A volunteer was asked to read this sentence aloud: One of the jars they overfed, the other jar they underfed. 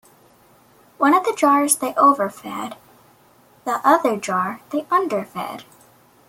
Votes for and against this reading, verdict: 2, 0, accepted